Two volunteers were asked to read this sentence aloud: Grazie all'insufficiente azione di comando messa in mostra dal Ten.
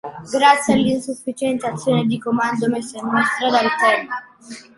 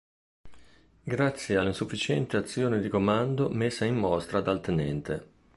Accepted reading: second